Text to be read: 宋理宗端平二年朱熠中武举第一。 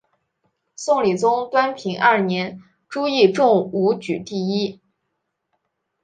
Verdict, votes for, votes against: accepted, 4, 0